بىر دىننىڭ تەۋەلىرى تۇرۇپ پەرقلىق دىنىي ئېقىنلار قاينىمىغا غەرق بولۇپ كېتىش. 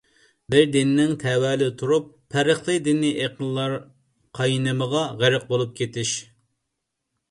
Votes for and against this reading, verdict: 2, 0, accepted